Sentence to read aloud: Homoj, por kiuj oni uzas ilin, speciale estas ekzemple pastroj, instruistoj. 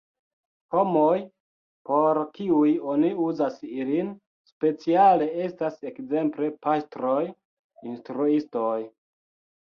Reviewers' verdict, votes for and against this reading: rejected, 1, 2